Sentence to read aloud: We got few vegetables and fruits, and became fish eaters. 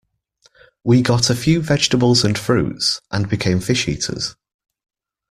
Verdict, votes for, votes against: rejected, 0, 2